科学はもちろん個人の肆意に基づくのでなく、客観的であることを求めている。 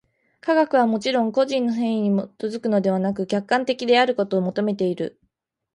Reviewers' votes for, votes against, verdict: 2, 0, accepted